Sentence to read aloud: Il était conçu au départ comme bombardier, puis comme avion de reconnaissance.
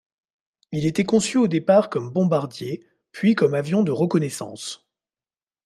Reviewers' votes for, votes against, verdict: 2, 0, accepted